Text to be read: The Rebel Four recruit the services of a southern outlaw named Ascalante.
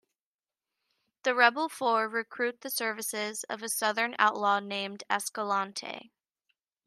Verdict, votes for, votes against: accepted, 2, 0